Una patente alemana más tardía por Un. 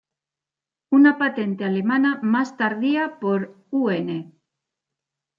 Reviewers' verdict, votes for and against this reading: rejected, 1, 2